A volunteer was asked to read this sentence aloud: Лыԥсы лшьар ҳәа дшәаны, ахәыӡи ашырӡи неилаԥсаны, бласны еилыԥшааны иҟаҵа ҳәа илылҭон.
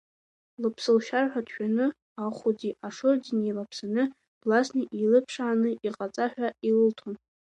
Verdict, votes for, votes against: rejected, 1, 2